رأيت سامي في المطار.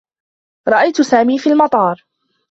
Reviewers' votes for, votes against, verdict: 2, 1, accepted